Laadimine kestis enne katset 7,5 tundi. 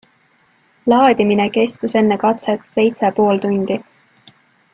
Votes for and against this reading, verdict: 0, 2, rejected